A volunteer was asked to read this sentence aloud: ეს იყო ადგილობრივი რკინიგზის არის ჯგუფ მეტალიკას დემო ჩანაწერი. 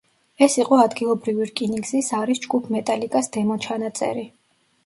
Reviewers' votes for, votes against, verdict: 2, 0, accepted